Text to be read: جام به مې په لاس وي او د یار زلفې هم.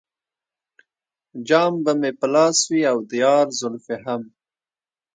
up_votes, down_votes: 2, 0